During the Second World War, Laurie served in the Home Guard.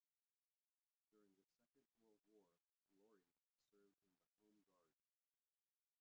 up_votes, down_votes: 0, 2